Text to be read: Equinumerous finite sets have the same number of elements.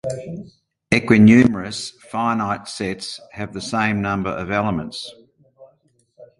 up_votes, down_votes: 2, 1